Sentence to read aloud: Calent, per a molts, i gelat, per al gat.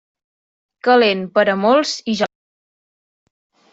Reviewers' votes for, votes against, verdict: 0, 2, rejected